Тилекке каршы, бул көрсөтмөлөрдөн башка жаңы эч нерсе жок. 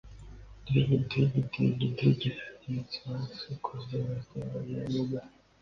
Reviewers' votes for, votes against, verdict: 0, 2, rejected